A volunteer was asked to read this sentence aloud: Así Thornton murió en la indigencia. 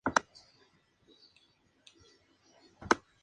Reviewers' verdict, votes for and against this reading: rejected, 0, 2